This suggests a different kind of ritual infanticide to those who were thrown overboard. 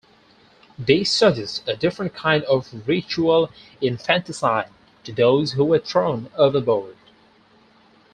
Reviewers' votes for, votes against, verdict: 4, 0, accepted